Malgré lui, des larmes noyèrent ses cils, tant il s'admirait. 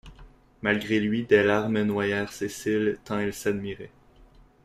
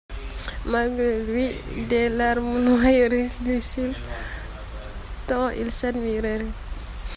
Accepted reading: first